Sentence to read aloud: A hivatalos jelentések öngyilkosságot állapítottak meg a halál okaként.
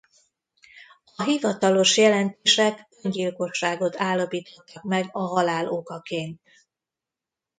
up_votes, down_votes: 1, 2